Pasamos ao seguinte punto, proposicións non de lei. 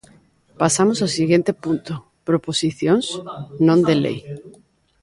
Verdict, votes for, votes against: rejected, 0, 4